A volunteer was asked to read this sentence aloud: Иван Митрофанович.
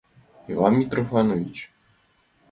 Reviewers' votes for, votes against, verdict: 2, 0, accepted